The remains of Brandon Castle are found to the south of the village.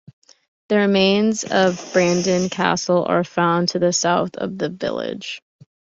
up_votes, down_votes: 2, 0